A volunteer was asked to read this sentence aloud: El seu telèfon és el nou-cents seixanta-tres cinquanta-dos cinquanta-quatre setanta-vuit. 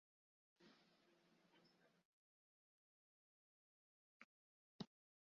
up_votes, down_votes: 0, 2